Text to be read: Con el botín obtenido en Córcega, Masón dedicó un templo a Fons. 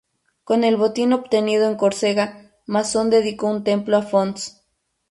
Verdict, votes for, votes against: accepted, 2, 0